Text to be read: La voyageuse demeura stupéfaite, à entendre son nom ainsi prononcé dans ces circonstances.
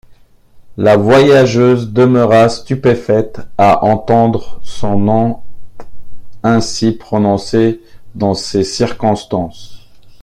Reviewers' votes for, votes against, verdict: 2, 1, accepted